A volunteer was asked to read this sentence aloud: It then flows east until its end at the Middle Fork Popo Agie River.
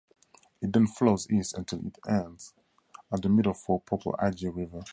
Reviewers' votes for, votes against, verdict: 2, 0, accepted